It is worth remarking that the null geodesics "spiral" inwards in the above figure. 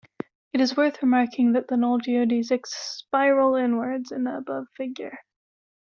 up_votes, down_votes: 2, 0